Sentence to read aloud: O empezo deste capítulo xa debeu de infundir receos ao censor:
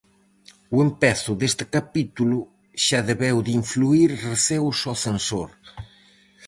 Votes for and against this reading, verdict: 0, 4, rejected